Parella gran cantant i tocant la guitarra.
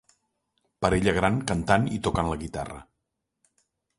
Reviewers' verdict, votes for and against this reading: accepted, 3, 0